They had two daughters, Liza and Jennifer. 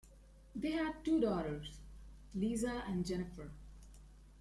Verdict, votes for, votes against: accepted, 2, 1